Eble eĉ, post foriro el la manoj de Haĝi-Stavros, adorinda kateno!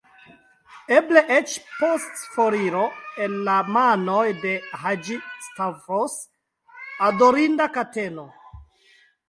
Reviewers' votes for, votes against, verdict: 2, 1, accepted